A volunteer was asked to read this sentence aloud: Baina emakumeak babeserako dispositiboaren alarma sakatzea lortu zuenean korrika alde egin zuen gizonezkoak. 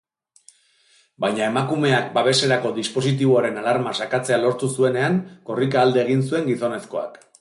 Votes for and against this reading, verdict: 3, 0, accepted